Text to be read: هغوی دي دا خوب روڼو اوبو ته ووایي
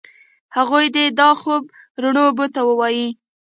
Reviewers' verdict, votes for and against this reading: accepted, 2, 0